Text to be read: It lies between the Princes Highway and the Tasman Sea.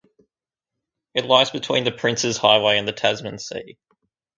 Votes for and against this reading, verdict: 4, 0, accepted